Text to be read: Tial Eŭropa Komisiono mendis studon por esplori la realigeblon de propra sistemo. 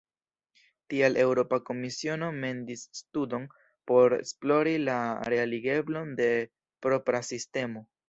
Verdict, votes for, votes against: rejected, 1, 2